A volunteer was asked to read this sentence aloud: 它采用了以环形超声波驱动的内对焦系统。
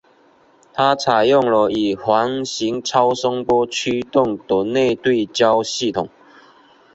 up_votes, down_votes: 2, 0